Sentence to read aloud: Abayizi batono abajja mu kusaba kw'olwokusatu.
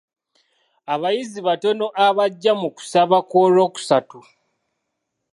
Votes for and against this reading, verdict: 2, 0, accepted